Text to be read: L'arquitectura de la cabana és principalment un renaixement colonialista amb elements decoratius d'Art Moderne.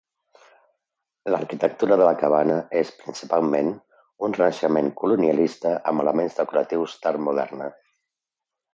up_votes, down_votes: 3, 0